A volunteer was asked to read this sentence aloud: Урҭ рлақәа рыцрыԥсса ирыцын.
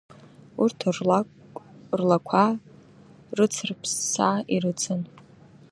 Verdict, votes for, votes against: rejected, 1, 2